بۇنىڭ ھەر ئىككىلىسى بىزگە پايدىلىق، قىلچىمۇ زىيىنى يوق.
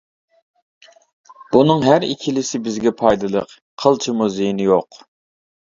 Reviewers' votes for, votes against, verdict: 2, 0, accepted